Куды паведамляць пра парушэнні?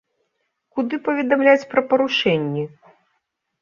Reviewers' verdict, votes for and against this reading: accepted, 2, 0